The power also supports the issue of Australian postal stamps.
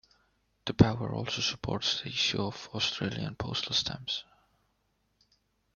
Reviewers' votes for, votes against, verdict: 2, 0, accepted